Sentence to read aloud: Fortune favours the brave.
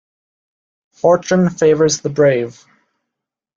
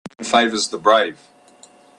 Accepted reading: first